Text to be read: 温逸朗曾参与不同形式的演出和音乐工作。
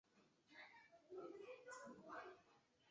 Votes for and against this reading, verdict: 0, 4, rejected